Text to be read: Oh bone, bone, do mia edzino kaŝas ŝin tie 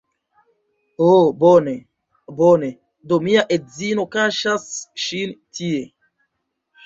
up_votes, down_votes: 1, 2